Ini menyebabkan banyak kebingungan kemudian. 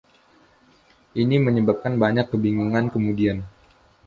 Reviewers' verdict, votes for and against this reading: accepted, 2, 0